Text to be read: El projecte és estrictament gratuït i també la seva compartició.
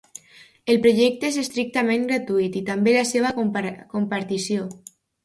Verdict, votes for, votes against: rejected, 1, 2